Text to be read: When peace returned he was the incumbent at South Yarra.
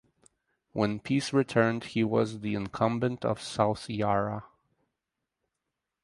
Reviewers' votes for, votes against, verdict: 2, 2, rejected